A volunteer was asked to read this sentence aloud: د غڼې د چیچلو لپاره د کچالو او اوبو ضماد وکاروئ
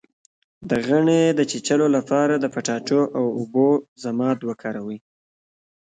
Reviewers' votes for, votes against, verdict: 1, 2, rejected